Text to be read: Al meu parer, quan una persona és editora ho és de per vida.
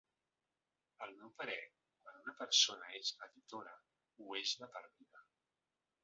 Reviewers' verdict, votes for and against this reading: rejected, 0, 2